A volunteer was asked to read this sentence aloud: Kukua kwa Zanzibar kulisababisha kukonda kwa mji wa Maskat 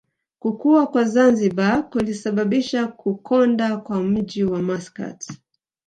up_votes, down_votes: 2, 1